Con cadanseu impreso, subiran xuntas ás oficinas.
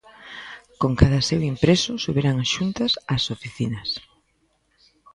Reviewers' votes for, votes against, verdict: 1, 2, rejected